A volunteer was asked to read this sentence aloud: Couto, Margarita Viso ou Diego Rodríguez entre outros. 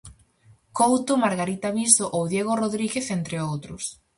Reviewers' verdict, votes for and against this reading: accepted, 4, 0